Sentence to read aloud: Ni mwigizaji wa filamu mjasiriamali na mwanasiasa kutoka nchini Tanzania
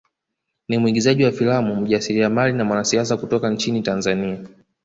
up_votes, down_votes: 2, 0